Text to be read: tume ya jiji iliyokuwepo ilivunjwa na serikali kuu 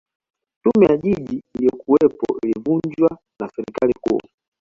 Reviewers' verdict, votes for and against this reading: accepted, 2, 1